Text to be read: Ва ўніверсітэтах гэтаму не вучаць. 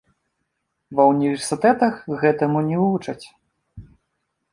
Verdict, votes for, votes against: rejected, 0, 2